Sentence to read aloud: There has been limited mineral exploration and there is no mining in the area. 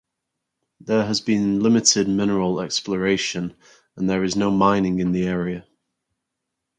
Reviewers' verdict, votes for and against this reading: accepted, 4, 2